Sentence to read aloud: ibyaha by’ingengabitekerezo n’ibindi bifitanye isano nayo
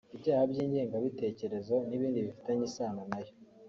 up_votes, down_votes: 1, 2